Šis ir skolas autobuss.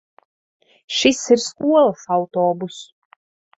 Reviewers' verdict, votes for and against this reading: rejected, 0, 2